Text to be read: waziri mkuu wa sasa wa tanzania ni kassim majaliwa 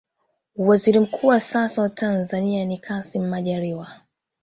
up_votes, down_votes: 2, 3